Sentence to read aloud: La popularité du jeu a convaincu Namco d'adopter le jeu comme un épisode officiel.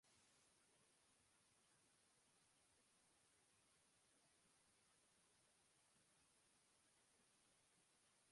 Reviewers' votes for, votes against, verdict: 0, 2, rejected